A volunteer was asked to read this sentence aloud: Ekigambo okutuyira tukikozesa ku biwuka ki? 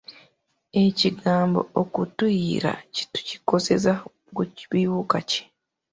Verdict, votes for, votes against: rejected, 0, 2